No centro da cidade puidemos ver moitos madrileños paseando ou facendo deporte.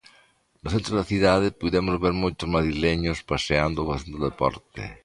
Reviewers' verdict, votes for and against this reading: accepted, 2, 1